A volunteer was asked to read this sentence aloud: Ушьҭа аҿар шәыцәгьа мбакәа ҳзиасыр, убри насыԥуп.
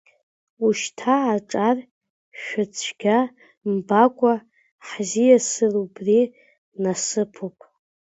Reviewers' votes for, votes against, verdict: 1, 2, rejected